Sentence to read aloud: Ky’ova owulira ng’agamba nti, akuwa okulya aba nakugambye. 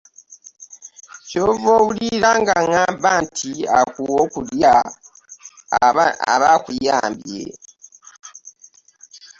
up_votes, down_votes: 0, 2